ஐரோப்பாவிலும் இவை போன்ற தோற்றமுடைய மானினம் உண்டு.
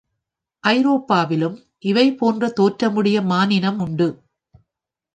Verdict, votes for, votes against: accepted, 2, 0